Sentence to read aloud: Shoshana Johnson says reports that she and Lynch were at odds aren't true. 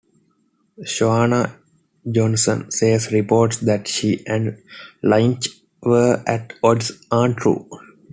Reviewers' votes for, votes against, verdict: 1, 2, rejected